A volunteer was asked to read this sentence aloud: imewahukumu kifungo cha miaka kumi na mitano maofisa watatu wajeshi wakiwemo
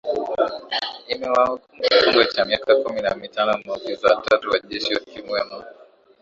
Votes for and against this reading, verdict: 1, 2, rejected